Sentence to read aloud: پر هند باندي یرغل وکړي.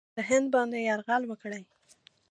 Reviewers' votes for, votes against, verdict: 0, 2, rejected